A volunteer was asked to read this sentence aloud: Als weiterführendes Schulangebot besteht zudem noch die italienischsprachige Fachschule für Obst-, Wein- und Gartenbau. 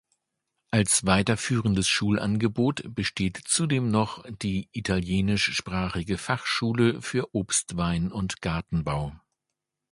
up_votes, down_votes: 2, 0